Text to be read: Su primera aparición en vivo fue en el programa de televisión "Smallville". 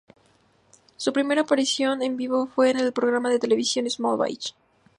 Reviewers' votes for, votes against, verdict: 2, 0, accepted